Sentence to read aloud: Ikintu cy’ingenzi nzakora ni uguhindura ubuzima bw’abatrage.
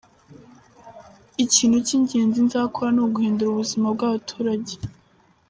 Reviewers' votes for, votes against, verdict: 2, 1, accepted